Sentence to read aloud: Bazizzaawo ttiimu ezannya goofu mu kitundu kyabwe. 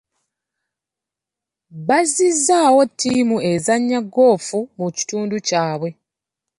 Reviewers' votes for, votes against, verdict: 2, 0, accepted